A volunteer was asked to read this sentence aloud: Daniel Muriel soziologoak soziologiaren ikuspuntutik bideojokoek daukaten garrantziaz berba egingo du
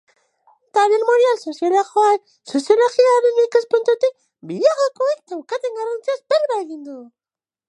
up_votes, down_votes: 0, 2